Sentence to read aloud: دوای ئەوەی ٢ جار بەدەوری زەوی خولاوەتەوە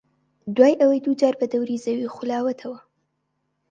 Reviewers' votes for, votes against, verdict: 0, 2, rejected